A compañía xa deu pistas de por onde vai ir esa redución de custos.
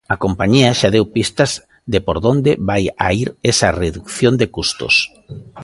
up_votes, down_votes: 0, 2